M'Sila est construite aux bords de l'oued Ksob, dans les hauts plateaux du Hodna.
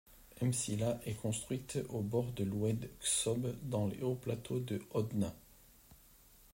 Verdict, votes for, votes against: accepted, 2, 1